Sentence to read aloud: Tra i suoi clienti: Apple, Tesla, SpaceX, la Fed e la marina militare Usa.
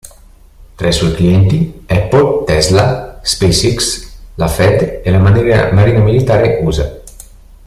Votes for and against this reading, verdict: 0, 2, rejected